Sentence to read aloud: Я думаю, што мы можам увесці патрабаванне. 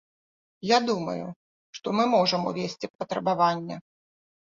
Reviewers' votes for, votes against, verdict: 2, 1, accepted